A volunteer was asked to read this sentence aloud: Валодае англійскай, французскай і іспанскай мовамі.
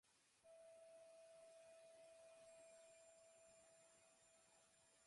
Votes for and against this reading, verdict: 0, 2, rejected